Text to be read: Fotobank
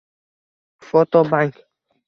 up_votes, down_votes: 1, 2